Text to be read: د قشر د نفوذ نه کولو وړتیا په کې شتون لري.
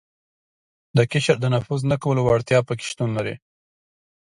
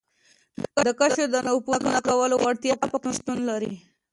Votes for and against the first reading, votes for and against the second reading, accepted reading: 2, 0, 1, 2, first